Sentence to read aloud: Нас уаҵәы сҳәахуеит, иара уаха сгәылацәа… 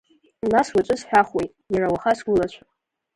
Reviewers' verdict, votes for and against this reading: rejected, 1, 2